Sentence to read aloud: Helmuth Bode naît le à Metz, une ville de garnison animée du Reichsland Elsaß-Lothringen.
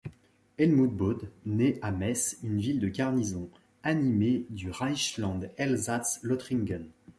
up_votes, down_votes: 0, 2